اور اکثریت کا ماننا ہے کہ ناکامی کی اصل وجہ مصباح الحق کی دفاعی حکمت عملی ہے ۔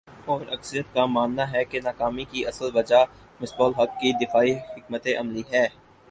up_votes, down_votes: 6, 8